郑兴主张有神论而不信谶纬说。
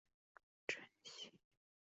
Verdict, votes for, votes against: rejected, 0, 3